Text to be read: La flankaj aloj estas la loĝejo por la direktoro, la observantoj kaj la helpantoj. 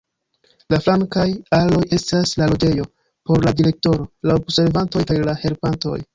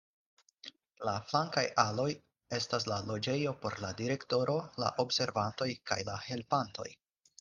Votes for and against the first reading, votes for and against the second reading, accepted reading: 1, 2, 4, 0, second